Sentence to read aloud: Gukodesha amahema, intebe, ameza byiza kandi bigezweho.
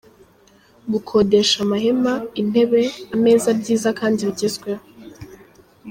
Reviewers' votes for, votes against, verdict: 1, 2, rejected